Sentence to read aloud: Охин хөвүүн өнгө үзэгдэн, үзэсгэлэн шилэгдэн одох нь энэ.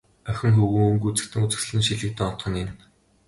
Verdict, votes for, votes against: accepted, 2, 0